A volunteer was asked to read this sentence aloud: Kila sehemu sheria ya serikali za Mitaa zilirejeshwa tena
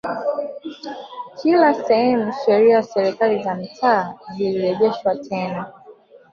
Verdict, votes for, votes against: accepted, 2, 0